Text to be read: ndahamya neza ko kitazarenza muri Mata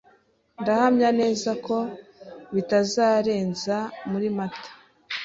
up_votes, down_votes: 2, 0